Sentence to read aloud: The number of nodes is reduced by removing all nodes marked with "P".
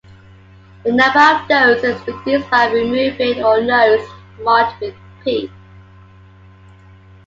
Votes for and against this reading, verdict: 2, 1, accepted